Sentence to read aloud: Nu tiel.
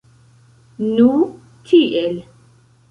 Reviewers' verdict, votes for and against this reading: rejected, 0, 2